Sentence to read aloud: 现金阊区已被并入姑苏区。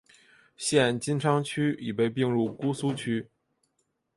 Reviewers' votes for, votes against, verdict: 3, 0, accepted